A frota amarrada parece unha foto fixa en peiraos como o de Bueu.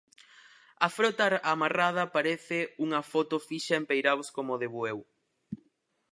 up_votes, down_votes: 2, 4